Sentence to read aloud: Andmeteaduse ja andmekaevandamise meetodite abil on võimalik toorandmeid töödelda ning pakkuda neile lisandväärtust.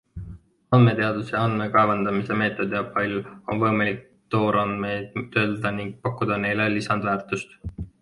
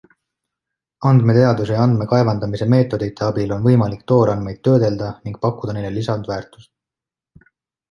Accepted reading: second